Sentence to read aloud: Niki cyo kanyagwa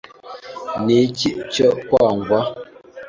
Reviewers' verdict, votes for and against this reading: rejected, 1, 2